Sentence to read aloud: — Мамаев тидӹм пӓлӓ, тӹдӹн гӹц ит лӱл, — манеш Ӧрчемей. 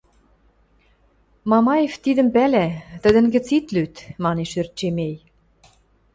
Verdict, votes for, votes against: rejected, 0, 2